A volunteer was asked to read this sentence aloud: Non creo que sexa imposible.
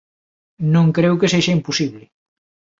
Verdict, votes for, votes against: accepted, 2, 0